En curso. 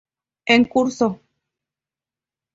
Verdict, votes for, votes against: accepted, 2, 0